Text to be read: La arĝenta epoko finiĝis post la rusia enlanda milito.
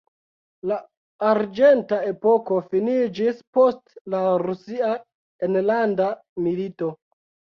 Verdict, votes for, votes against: accepted, 2, 0